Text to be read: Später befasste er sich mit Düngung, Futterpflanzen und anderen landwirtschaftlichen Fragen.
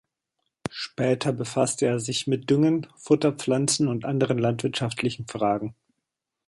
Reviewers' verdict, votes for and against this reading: rejected, 1, 2